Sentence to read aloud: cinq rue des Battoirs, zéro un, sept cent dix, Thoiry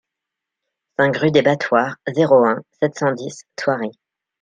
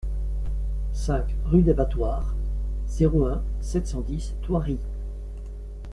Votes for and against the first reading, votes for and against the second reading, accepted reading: 0, 2, 2, 0, second